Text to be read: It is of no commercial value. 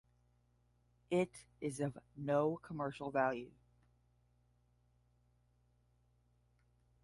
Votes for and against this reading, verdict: 5, 5, rejected